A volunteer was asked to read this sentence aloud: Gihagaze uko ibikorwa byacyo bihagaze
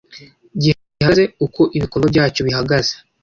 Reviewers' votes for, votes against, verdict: 0, 2, rejected